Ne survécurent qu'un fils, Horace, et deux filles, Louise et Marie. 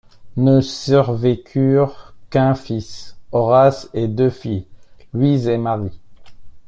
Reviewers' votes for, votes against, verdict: 1, 2, rejected